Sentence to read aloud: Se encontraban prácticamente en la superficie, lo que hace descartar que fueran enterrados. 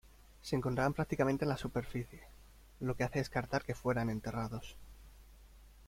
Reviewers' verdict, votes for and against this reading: accepted, 2, 0